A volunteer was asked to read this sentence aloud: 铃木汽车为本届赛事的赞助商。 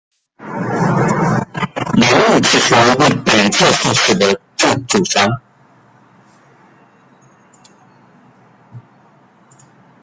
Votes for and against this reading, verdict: 0, 2, rejected